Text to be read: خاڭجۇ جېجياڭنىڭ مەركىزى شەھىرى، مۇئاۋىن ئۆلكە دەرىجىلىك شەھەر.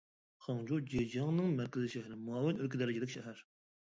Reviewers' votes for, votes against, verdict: 0, 2, rejected